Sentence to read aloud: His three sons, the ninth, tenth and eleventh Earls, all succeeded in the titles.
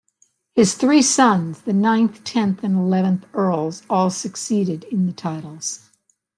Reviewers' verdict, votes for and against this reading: accepted, 2, 0